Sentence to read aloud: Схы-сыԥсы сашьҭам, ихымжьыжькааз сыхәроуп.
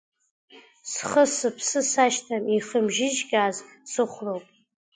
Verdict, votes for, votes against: accepted, 2, 1